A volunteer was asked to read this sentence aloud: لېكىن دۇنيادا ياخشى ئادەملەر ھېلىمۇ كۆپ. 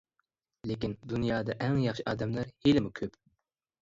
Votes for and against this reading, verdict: 0, 2, rejected